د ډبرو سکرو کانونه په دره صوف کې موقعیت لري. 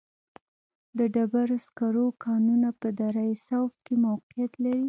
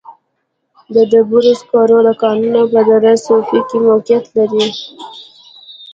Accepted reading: second